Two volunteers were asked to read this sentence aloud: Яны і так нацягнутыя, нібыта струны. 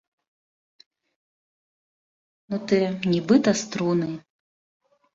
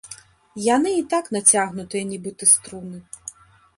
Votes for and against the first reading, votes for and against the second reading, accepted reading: 0, 2, 2, 0, second